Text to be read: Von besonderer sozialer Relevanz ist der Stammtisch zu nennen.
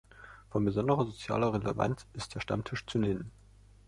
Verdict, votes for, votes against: accepted, 2, 1